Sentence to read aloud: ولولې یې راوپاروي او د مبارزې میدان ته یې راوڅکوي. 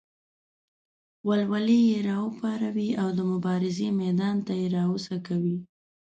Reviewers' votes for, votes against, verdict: 1, 2, rejected